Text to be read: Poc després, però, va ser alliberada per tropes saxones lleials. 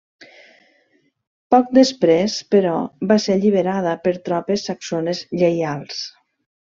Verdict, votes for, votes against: accepted, 3, 0